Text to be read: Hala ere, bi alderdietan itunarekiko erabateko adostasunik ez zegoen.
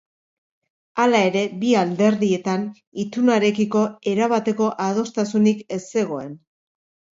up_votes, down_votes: 2, 0